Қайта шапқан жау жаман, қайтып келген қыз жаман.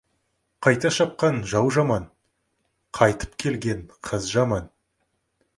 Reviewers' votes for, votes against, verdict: 2, 0, accepted